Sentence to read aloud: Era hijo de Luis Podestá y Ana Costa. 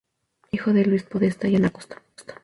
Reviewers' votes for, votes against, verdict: 2, 0, accepted